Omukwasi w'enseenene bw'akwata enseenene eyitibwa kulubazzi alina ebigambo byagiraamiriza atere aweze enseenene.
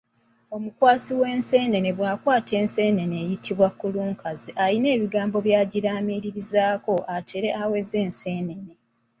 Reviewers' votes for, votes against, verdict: 2, 0, accepted